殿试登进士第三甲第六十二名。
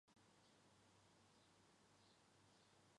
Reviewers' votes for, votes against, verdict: 0, 2, rejected